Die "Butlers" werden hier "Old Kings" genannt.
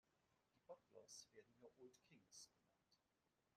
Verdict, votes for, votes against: rejected, 0, 2